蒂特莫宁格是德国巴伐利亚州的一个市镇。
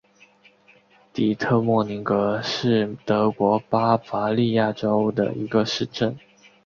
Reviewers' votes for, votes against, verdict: 0, 3, rejected